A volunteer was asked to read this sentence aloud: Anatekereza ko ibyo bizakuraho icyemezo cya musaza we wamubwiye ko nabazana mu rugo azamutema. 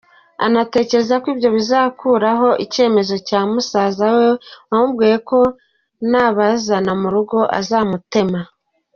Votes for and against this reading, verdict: 2, 0, accepted